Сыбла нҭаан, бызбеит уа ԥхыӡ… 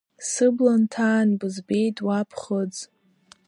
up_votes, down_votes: 2, 0